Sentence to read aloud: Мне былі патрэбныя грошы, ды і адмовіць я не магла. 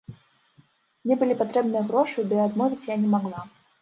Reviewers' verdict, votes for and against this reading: accepted, 2, 1